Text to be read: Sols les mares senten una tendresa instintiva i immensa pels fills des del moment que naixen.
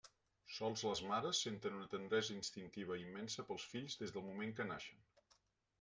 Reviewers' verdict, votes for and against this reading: accepted, 2, 0